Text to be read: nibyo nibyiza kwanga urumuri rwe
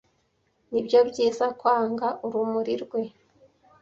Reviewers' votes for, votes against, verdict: 0, 2, rejected